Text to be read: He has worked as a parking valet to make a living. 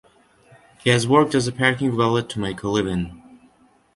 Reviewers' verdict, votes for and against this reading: accepted, 2, 1